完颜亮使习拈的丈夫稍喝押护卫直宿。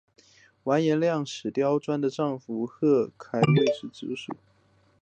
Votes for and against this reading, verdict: 2, 0, accepted